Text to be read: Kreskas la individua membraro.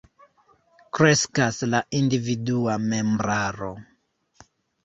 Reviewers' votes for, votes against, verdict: 1, 2, rejected